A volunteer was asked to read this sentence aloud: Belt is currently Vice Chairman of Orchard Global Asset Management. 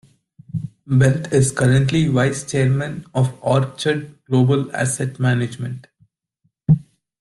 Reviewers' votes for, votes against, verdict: 2, 0, accepted